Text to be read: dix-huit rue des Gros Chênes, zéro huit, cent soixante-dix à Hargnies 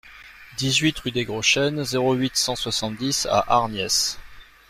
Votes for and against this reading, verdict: 1, 2, rejected